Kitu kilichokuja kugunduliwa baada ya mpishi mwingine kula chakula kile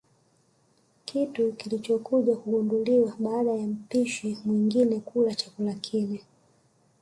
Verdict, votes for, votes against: rejected, 0, 2